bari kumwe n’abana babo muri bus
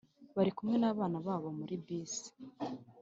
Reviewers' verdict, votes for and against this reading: accepted, 2, 0